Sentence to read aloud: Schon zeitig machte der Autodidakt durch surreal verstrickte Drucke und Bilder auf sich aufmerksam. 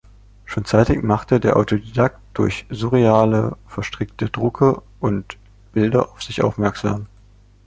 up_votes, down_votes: 0, 2